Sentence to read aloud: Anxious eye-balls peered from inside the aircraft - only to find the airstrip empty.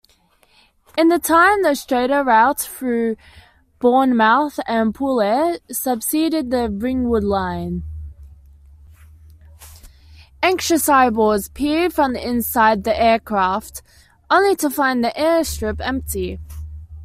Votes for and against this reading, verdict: 1, 2, rejected